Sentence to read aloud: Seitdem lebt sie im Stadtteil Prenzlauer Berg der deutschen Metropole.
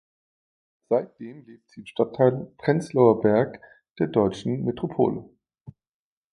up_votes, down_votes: 1, 2